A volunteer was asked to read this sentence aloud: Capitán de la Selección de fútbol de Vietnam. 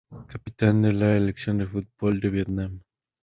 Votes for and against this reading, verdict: 4, 0, accepted